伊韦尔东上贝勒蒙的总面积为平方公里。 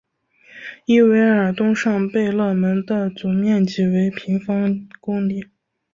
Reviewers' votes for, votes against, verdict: 4, 1, accepted